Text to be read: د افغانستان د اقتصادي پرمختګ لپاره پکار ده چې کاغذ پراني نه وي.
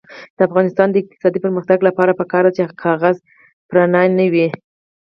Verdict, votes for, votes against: accepted, 4, 2